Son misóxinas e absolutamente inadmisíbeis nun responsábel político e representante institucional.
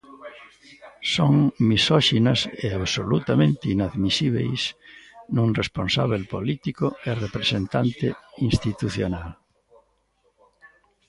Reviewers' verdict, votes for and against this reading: accepted, 2, 1